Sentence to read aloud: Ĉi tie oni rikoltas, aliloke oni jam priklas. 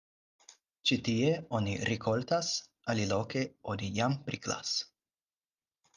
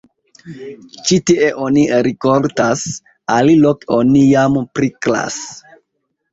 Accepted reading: first